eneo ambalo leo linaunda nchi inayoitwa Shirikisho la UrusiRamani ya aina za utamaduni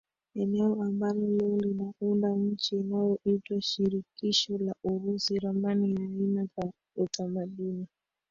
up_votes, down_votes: 1, 2